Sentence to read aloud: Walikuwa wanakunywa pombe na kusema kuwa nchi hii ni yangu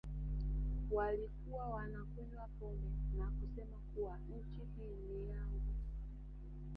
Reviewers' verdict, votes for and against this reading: rejected, 1, 2